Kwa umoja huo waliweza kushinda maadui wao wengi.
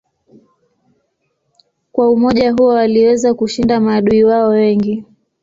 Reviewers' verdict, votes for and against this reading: rejected, 0, 2